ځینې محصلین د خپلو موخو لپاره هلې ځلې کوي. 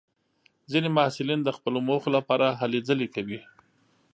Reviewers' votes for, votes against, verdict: 2, 0, accepted